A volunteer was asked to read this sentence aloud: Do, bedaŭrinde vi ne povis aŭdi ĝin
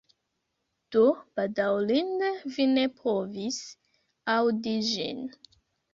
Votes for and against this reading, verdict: 1, 2, rejected